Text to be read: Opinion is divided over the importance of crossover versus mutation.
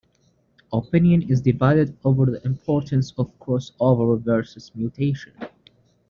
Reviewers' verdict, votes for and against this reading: accepted, 2, 0